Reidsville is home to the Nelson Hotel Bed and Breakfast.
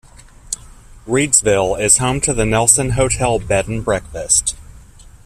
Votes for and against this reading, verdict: 2, 0, accepted